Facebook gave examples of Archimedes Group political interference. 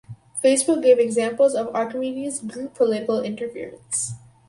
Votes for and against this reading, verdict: 4, 0, accepted